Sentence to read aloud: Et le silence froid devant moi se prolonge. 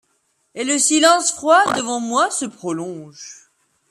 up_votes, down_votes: 2, 0